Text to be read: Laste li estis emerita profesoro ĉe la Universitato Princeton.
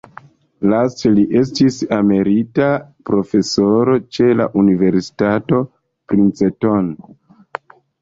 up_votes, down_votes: 2, 0